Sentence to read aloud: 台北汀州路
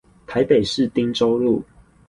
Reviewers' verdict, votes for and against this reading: rejected, 0, 4